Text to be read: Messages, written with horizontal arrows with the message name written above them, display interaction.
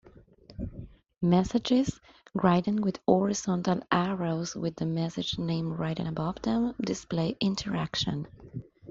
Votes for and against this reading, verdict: 1, 2, rejected